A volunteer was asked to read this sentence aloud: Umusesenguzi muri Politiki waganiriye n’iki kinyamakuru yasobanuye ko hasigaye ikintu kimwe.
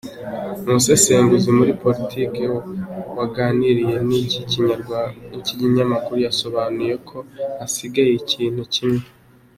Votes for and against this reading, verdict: 2, 0, accepted